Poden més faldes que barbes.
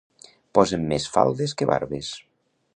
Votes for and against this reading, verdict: 0, 2, rejected